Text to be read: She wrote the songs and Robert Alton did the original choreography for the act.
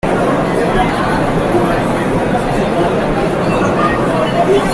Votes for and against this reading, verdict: 0, 2, rejected